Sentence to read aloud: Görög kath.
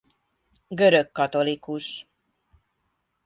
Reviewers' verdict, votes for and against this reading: rejected, 1, 2